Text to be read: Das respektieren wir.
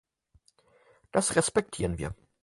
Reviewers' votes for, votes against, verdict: 4, 0, accepted